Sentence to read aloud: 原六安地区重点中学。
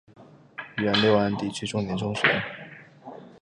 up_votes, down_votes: 6, 2